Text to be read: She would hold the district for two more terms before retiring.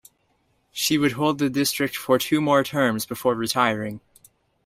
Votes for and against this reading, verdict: 2, 0, accepted